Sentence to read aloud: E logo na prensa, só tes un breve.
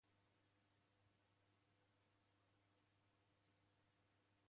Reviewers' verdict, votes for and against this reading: rejected, 0, 2